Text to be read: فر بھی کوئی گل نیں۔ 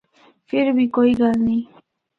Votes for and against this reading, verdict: 2, 0, accepted